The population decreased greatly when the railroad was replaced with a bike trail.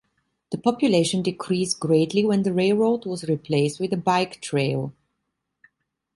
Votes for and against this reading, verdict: 2, 0, accepted